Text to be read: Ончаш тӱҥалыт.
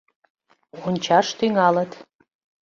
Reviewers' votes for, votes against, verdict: 2, 1, accepted